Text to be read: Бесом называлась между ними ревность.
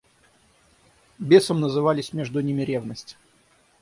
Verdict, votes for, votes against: rejected, 3, 6